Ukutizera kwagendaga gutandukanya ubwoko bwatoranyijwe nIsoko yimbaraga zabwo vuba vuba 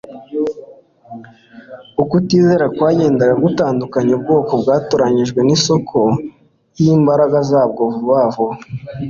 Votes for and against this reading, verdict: 2, 0, accepted